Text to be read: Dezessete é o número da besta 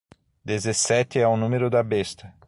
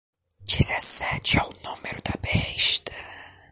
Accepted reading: first